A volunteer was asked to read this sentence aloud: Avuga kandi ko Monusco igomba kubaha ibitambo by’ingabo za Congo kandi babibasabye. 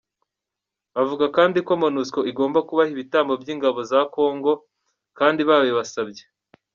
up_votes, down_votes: 2, 1